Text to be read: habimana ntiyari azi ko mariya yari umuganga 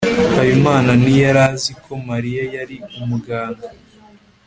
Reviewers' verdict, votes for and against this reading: accepted, 2, 0